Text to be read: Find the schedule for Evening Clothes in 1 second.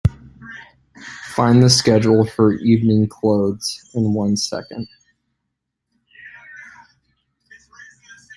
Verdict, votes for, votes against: rejected, 0, 2